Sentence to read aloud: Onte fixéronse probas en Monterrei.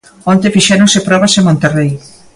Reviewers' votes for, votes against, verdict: 2, 0, accepted